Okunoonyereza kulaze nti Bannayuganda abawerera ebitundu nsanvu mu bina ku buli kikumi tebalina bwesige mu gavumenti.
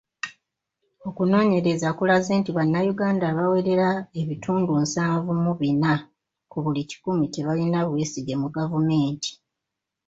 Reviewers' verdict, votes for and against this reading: accepted, 2, 0